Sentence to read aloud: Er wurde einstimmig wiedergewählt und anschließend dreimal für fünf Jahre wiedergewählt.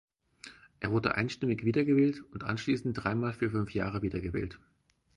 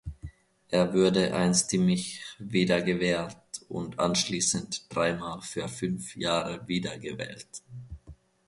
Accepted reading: first